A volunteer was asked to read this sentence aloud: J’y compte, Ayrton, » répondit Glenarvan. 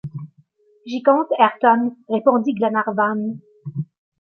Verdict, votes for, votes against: accepted, 2, 1